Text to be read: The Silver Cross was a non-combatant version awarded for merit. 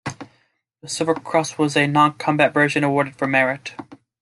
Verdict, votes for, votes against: rejected, 1, 2